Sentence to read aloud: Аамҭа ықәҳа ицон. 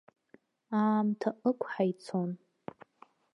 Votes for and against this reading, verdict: 0, 2, rejected